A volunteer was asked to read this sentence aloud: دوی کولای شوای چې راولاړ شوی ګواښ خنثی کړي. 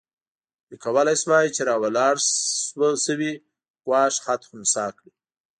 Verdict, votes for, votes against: rejected, 1, 2